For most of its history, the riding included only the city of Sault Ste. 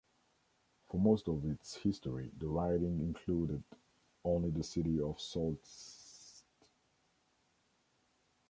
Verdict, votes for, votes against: rejected, 0, 2